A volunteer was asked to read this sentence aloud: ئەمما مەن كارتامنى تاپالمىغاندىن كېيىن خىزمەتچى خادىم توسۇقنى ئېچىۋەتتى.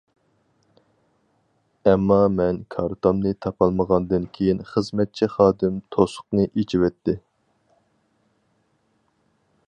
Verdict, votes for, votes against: accepted, 4, 0